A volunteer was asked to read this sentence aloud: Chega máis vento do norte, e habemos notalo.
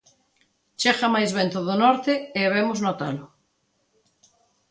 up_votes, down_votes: 2, 0